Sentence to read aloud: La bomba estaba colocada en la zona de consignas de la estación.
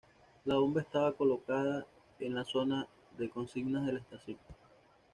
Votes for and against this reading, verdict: 2, 1, accepted